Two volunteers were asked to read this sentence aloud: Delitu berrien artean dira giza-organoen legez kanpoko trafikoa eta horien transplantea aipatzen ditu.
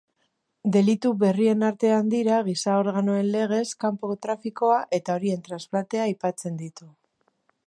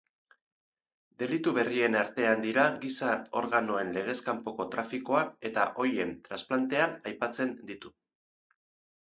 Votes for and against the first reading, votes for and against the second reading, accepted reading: 2, 0, 0, 2, first